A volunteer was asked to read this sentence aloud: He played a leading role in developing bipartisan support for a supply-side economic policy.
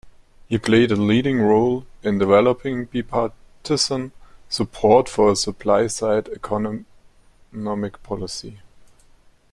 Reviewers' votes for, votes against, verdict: 0, 2, rejected